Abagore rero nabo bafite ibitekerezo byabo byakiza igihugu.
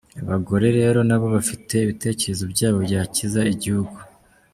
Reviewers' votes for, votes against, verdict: 2, 0, accepted